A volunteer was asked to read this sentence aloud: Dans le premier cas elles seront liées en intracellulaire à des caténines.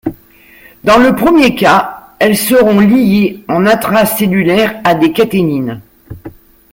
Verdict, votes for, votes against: accepted, 2, 1